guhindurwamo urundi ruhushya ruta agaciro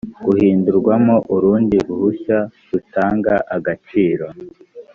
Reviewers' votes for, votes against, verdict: 1, 3, rejected